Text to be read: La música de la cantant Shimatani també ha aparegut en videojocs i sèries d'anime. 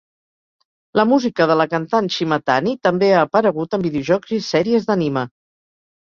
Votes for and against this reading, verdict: 2, 0, accepted